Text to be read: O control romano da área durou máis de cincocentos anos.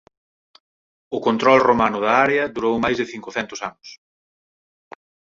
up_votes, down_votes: 4, 2